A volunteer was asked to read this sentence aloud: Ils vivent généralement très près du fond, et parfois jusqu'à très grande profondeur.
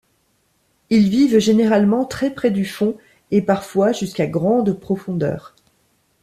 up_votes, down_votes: 0, 2